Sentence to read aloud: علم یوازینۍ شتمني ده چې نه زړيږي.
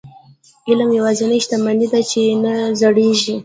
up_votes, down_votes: 1, 2